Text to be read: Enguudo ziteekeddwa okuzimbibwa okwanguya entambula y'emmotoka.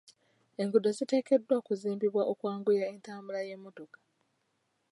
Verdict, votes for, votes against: accepted, 2, 0